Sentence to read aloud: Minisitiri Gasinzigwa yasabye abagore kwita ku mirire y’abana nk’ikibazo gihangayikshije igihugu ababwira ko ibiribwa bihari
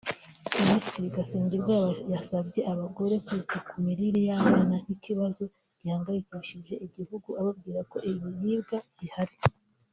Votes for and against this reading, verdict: 0, 2, rejected